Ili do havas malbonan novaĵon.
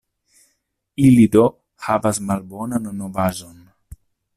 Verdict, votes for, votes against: accepted, 2, 1